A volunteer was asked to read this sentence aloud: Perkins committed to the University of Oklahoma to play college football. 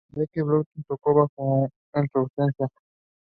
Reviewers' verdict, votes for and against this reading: rejected, 0, 2